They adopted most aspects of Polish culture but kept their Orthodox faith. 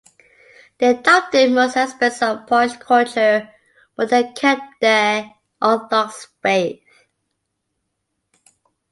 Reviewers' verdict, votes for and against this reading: rejected, 1, 2